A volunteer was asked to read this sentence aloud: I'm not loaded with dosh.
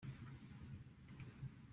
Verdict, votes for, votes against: rejected, 0, 2